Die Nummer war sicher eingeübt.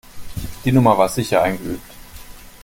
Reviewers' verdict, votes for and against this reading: accepted, 2, 0